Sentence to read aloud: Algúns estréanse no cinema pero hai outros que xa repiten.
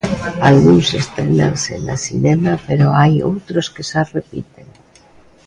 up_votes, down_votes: 1, 2